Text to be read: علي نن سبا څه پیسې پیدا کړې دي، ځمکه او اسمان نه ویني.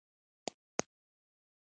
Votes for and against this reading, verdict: 1, 2, rejected